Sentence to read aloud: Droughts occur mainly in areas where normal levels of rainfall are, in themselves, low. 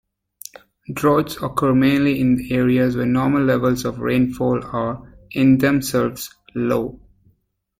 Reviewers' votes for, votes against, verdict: 2, 0, accepted